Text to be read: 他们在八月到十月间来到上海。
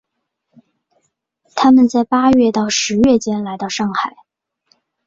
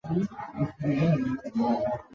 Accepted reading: first